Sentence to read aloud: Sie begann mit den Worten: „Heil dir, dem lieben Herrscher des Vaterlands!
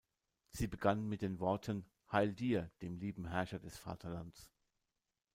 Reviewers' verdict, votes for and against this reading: rejected, 0, 2